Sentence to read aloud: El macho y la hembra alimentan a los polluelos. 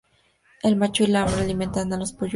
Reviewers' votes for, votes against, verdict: 2, 0, accepted